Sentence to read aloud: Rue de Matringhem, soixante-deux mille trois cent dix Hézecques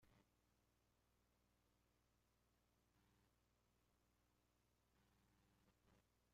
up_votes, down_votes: 0, 2